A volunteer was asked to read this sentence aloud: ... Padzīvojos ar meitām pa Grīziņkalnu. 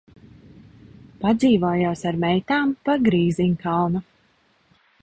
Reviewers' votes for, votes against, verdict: 2, 1, accepted